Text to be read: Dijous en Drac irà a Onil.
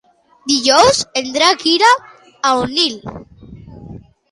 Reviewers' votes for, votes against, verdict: 2, 0, accepted